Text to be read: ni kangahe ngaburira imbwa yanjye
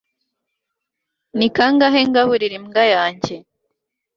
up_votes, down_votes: 2, 0